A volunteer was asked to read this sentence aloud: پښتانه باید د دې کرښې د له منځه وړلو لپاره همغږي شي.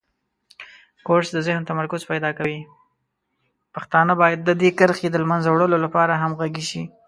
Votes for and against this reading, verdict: 0, 2, rejected